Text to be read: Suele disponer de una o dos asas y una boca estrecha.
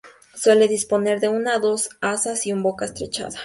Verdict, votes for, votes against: rejected, 0, 4